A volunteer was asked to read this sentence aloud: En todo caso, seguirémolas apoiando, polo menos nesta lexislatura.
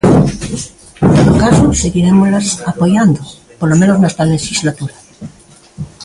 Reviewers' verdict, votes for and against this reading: rejected, 0, 3